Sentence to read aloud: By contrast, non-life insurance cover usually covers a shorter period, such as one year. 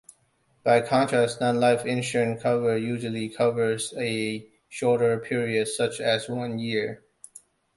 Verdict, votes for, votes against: rejected, 1, 2